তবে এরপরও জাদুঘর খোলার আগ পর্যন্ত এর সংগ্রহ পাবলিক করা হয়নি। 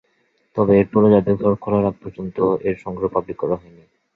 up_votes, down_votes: 3, 4